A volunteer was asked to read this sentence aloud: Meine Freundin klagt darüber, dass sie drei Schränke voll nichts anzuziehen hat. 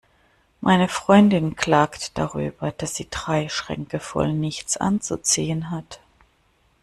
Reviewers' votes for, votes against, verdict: 2, 0, accepted